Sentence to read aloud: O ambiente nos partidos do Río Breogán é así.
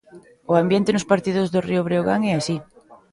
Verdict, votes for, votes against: rejected, 1, 2